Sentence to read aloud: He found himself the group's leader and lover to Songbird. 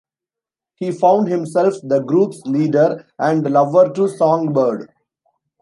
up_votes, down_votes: 2, 1